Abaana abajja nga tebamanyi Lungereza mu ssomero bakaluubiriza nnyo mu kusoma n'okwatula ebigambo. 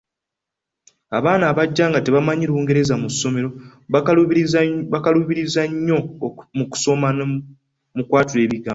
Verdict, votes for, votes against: rejected, 1, 2